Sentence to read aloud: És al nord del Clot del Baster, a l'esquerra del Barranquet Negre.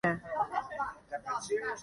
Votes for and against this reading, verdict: 1, 2, rejected